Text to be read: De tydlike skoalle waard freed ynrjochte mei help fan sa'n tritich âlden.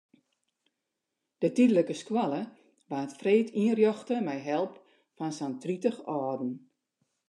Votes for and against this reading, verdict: 2, 0, accepted